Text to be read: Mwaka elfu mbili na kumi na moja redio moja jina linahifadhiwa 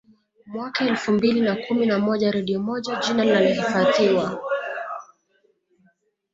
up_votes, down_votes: 2, 1